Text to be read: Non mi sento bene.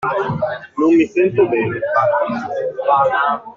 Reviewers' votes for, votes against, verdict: 0, 2, rejected